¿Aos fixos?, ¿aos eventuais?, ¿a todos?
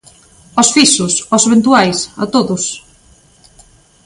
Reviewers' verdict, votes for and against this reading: accepted, 2, 0